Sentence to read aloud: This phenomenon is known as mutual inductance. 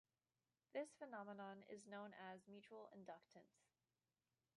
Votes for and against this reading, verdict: 0, 2, rejected